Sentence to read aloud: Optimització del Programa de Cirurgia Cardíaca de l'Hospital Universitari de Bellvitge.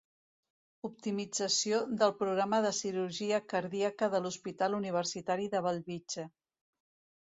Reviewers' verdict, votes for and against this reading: accepted, 2, 0